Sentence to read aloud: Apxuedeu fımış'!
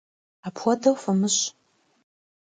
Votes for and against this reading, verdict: 2, 1, accepted